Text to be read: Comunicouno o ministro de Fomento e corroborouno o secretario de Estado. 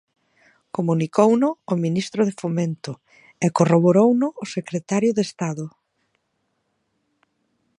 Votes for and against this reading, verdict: 2, 0, accepted